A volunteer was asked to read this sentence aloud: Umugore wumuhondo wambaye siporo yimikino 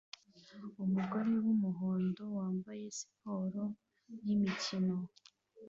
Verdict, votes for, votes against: accepted, 2, 0